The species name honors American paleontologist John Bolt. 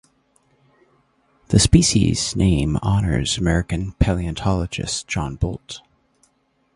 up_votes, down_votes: 2, 0